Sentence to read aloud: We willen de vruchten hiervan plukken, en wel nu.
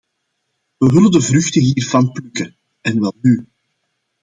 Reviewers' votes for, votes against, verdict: 2, 0, accepted